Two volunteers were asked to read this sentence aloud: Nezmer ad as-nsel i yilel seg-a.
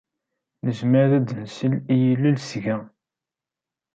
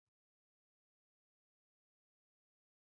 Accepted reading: first